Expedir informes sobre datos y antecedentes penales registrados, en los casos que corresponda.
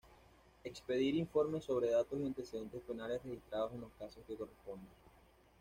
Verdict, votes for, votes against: rejected, 0, 2